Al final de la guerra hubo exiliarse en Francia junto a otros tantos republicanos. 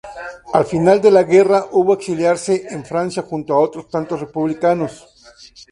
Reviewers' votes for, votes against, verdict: 0, 2, rejected